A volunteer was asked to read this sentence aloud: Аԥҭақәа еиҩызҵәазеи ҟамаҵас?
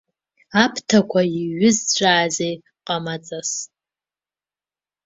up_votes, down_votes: 1, 2